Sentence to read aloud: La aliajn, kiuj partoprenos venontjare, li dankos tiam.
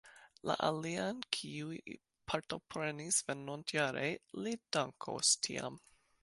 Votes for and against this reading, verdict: 0, 2, rejected